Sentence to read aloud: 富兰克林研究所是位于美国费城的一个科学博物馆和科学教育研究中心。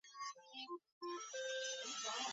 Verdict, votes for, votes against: rejected, 0, 3